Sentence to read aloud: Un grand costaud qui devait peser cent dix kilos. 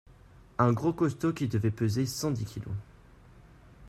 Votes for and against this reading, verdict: 2, 0, accepted